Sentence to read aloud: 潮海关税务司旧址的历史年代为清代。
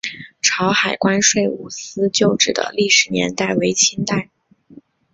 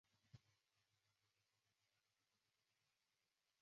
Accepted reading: first